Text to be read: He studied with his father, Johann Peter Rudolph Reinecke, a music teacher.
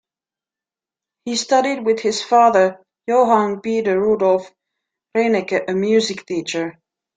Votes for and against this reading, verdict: 2, 0, accepted